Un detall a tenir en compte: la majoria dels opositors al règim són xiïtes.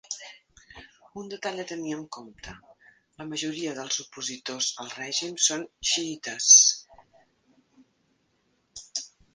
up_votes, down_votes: 2, 1